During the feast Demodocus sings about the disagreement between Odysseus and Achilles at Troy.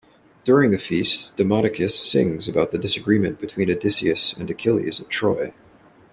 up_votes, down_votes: 2, 1